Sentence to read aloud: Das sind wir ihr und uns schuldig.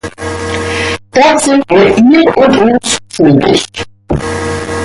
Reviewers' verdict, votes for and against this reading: rejected, 0, 2